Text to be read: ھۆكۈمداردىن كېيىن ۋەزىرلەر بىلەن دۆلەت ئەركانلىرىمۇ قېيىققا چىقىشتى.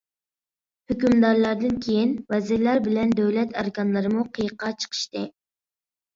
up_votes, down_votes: 0, 2